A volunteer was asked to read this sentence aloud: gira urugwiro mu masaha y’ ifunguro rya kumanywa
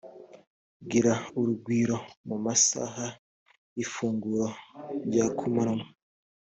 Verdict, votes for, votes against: accepted, 2, 0